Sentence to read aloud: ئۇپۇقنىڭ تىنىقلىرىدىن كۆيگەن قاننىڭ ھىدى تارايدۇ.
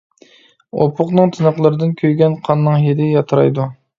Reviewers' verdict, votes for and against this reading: rejected, 0, 2